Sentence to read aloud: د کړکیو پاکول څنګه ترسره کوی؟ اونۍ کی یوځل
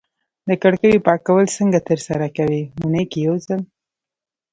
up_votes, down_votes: 1, 2